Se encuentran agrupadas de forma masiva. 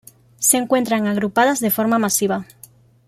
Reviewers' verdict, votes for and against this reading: accepted, 2, 0